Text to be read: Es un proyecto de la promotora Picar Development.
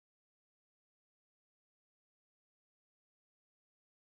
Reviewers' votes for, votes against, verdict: 0, 2, rejected